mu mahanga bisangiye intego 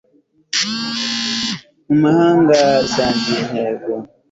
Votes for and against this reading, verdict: 3, 0, accepted